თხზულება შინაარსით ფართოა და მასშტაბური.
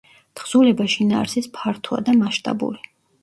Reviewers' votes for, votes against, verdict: 0, 2, rejected